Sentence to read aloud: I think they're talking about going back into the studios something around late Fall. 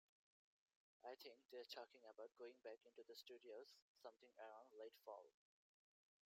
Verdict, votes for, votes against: rejected, 1, 2